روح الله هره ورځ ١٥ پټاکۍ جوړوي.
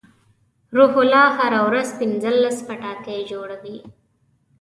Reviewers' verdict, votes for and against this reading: rejected, 0, 2